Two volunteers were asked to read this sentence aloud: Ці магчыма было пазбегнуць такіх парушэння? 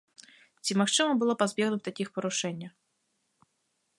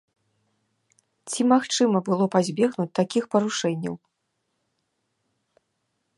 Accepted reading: first